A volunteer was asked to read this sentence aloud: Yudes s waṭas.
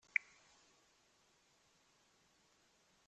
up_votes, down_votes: 0, 2